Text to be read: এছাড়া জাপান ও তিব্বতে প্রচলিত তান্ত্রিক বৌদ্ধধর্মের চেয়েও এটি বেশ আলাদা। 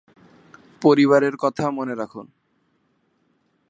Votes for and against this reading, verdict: 0, 2, rejected